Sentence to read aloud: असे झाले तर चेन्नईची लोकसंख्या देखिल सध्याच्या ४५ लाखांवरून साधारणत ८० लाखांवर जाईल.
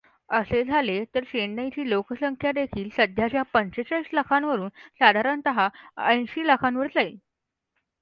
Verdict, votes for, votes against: rejected, 0, 2